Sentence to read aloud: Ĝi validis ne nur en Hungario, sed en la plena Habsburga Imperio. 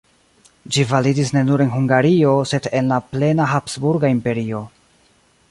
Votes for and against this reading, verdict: 2, 0, accepted